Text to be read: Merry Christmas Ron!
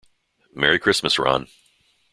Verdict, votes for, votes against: accepted, 2, 0